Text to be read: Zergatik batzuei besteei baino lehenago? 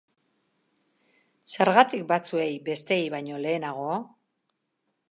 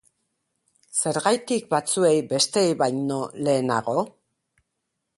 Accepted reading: first